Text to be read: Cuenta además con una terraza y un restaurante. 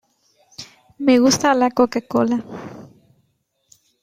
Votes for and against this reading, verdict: 0, 2, rejected